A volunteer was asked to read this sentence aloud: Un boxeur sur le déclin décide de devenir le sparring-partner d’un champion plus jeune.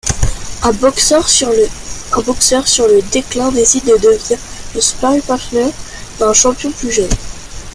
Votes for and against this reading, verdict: 0, 2, rejected